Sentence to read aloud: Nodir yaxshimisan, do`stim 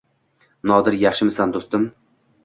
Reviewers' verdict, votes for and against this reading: accepted, 2, 0